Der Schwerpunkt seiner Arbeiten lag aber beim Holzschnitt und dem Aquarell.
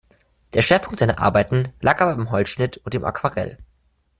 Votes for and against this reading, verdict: 1, 2, rejected